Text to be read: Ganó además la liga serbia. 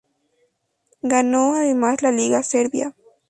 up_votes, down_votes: 2, 0